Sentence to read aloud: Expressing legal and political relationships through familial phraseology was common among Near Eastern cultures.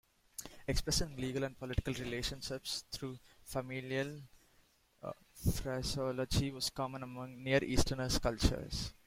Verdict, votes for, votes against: rejected, 0, 2